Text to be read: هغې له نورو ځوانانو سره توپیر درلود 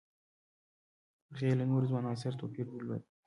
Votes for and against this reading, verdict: 1, 2, rejected